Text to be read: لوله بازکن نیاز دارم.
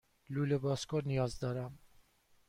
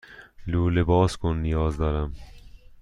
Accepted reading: first